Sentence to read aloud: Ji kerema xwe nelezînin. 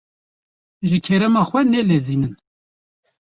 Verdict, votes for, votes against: accepted, 2, 0